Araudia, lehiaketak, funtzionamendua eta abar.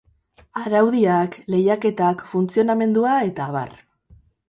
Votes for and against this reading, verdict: 0, 2, rejected